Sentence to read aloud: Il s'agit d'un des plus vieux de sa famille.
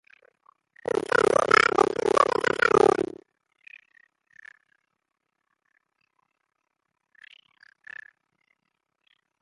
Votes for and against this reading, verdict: 0, 2, rejected